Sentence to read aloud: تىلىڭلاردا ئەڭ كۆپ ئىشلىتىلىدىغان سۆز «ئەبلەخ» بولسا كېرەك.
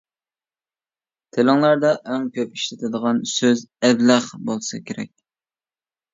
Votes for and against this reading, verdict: 0, 2, rejected